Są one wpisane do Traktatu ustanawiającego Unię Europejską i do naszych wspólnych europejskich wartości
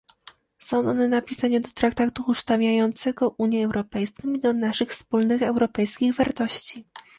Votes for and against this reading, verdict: 0, 2, rejected